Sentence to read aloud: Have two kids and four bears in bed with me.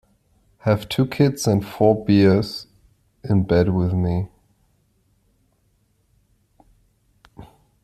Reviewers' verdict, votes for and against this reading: rejected, 0, 2